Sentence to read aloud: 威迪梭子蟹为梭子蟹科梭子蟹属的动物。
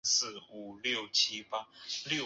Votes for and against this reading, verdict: 0, 4, rejected